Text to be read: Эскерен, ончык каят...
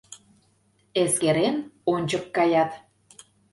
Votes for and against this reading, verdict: 2, 0, accepted